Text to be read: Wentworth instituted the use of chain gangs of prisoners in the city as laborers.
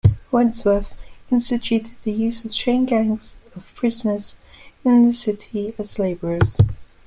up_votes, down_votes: 2, 0